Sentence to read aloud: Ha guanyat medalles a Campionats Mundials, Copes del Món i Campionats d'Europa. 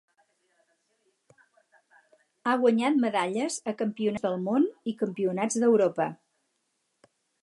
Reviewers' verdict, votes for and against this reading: rejected, 0, 4